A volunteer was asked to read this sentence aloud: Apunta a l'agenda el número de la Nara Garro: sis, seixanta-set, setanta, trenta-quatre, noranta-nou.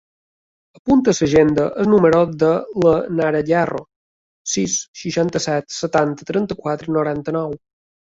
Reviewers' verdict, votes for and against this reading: rejected, 0, 2